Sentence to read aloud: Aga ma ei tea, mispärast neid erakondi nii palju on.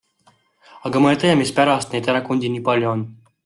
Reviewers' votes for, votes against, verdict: 2, 0, accepted